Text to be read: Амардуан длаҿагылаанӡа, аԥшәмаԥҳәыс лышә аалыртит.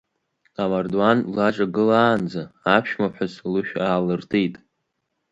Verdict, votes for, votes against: accepted, 2, 0